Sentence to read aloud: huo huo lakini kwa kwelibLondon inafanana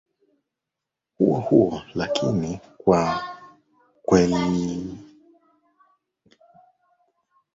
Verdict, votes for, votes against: rejected, 0, 2